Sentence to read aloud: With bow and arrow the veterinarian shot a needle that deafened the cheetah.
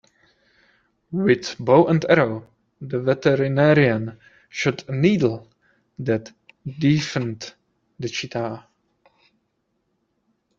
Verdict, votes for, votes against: rejected, 0, 2